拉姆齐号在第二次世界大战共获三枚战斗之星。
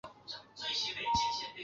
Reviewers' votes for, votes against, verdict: 0, 3, rejected